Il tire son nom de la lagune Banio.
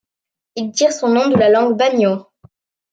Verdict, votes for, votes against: rejected, 0, 2